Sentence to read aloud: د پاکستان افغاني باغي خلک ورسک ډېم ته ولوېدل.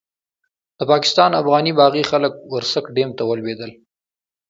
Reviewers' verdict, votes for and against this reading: accepted, 2, 0